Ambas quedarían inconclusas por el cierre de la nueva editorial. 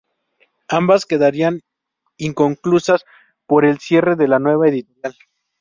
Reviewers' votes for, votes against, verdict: 2, 2, rejected